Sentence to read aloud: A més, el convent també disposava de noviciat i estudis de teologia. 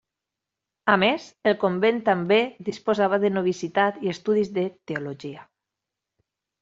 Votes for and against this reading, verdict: 0, 2, rejected